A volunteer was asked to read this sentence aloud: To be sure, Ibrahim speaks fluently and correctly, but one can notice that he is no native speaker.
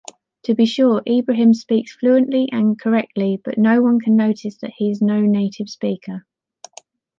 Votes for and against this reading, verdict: 0, 2, rejected